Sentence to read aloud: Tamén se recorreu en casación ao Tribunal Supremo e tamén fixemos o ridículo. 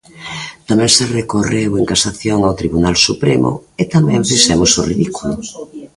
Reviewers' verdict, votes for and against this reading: accepted, 2, 0